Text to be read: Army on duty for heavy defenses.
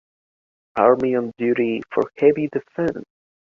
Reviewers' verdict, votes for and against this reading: rejected, 1, 2